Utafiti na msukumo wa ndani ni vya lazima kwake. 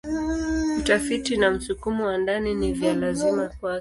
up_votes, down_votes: 1, 2